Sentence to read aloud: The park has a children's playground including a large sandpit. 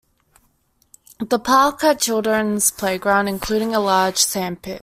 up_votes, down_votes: 0, 2